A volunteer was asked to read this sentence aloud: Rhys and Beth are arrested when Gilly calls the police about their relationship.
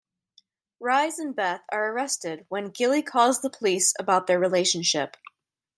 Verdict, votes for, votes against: rejected, 0, 2